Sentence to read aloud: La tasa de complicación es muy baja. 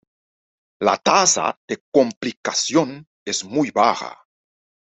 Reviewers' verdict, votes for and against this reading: accepted, 2, 0